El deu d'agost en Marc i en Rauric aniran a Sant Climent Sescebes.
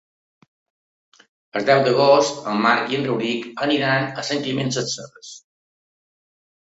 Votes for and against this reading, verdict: 0, 2, rejected